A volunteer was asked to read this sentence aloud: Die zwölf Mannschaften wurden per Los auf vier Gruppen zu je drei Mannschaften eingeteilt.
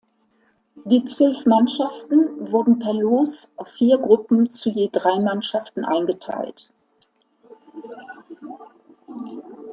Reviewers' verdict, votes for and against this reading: accepted, 2, 0